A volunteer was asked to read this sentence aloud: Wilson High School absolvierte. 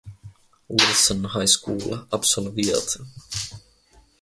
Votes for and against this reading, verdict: 0, 2, rejected